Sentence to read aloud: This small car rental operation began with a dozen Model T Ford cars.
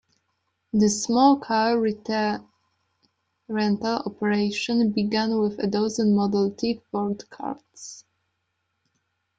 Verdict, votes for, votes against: rejected, 0, 2